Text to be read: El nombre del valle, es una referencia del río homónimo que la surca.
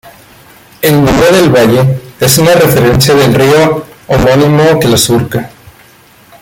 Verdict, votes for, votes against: rejected, 1, 2